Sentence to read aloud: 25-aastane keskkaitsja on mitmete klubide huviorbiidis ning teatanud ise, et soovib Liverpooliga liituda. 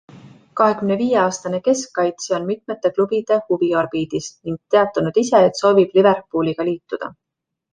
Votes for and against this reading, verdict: 0, 2, rejected